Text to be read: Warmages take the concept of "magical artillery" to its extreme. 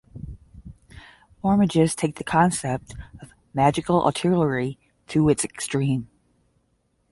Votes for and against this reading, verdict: 10, 0, accepted